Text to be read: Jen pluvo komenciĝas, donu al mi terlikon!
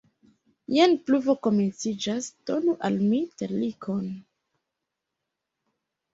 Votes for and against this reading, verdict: 0, 2, rejected